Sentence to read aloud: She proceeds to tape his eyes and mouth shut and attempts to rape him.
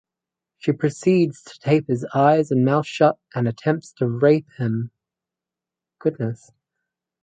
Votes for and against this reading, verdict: 0, 4, rejected